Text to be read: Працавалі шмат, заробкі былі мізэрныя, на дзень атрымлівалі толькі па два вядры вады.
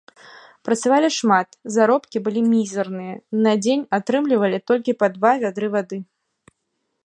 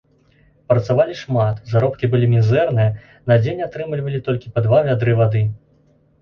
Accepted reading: second